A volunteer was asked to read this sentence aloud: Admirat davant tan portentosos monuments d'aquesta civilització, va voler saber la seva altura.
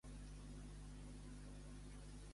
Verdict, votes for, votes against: rejected, 0, 2